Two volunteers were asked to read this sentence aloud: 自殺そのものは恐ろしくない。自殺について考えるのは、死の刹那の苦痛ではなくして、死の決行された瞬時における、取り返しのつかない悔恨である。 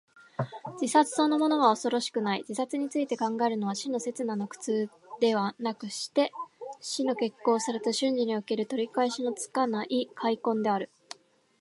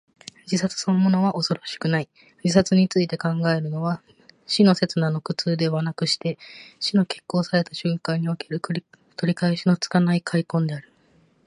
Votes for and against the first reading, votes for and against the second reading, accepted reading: 2, 1, 0, 2, first